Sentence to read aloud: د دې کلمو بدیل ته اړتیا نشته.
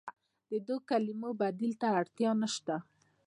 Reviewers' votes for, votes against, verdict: 2, 0, accepted